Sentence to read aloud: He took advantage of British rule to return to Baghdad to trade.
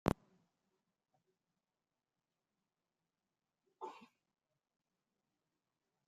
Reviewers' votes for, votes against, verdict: 0, 2, rejected